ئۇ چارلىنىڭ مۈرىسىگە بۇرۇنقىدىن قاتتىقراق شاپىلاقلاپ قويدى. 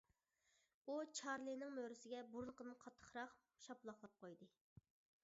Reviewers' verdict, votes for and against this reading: rejected, 1, 2